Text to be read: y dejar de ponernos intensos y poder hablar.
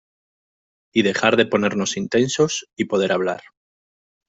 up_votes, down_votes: 2, 0